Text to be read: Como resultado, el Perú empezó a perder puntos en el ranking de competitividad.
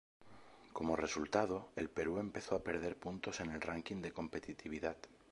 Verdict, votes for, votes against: accepted, 2, 0